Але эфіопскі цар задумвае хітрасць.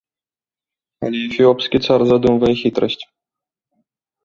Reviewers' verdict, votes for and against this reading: accepted, 2, 0